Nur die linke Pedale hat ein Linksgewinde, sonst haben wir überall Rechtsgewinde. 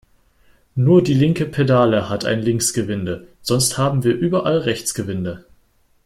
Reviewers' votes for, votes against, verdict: 2, 1, accepted